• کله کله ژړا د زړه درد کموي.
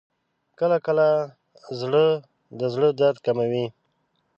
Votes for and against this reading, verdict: 2, 3, rejected